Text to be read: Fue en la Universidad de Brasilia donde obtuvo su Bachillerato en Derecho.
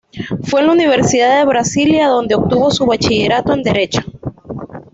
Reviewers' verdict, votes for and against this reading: accepted, 2, 0